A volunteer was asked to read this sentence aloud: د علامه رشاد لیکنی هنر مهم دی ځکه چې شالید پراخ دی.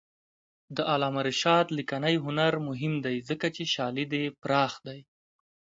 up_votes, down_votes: 2, 0